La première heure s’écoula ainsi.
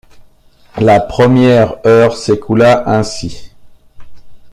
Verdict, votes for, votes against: accepted, 2, 0